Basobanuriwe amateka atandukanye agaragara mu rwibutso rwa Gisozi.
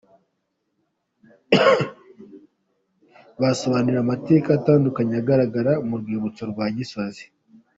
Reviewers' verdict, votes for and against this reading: accepted, 2, 0